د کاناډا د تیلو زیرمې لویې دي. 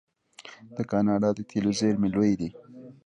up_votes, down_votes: 0, 2